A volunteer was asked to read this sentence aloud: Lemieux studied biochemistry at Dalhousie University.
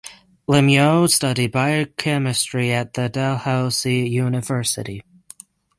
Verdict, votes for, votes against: rejected, 0, 3